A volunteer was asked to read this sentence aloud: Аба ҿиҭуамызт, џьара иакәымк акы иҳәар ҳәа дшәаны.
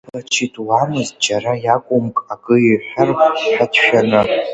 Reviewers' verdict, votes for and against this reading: rejected, 1, 2